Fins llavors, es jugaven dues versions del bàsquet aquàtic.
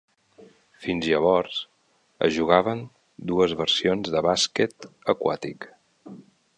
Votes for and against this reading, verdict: 1, 2, rejected